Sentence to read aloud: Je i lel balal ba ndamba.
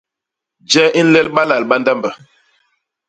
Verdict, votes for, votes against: rejected, 1, 2